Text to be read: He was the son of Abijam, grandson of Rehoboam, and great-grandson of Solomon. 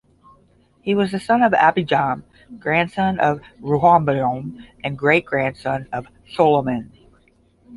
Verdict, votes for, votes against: accepted, 10, 0